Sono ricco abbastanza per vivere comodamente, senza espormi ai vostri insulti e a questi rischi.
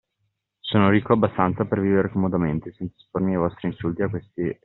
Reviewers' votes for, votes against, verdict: 2, 0, accepted